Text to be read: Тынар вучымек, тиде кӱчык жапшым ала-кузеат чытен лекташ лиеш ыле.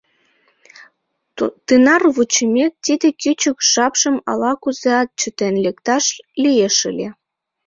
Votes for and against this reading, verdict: 1, 2, rejected